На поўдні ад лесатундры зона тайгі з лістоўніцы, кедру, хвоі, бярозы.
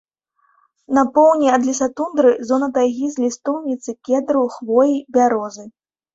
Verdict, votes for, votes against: accepted, 2, 0